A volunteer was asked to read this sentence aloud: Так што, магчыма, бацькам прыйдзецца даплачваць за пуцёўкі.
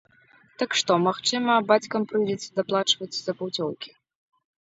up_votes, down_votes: 1, 2